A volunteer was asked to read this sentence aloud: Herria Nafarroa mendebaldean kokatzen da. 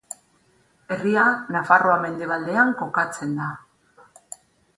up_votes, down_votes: 6, 0